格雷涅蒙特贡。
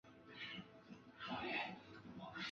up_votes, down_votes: 0, 3